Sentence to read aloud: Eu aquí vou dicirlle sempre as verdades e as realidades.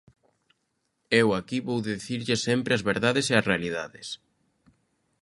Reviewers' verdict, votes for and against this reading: accepted, 2, 1